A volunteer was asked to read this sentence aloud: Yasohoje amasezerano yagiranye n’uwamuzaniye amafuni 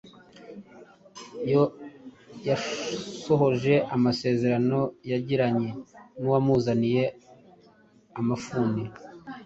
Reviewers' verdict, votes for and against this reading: rejected, 1, 2